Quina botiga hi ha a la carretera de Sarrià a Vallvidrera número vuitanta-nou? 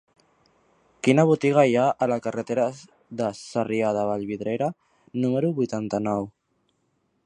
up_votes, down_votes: 1, 3